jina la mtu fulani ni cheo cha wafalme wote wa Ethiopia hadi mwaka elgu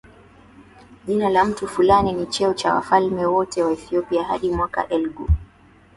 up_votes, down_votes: 16, 2